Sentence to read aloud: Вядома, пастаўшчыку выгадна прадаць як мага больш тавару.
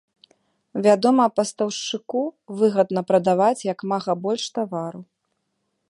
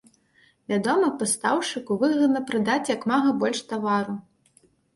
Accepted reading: second